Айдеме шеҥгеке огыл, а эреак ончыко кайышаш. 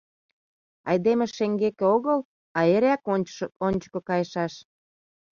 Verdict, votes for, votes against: rejected, 0, 2